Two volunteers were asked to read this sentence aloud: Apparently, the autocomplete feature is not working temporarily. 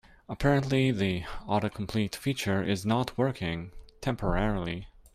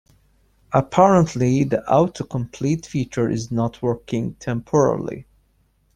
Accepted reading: first